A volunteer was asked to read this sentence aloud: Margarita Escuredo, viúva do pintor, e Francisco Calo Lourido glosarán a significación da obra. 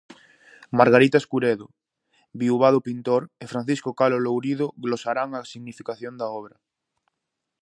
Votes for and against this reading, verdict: 2, 0, accepted